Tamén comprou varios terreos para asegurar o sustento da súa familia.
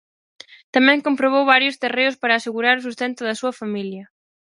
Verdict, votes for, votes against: rejected, 0, 4